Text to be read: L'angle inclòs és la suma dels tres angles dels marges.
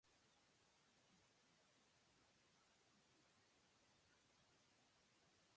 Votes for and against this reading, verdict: 0, 2, rejected